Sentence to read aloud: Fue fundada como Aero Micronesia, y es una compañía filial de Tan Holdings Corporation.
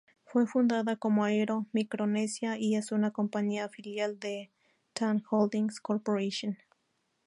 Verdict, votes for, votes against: rejected, 0, 2